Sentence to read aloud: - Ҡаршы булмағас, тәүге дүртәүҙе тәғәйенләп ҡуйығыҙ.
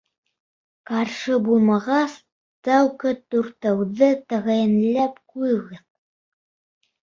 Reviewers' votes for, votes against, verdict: 1, 2, rejected